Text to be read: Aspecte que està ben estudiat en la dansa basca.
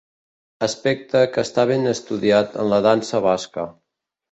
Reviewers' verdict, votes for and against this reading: accepted, 2, 0